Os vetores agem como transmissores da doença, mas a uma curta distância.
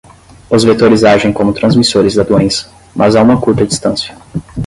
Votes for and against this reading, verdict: 0, 5, rejected